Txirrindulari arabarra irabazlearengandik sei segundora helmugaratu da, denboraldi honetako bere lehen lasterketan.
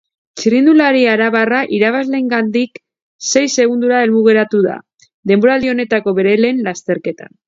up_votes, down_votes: 0, 2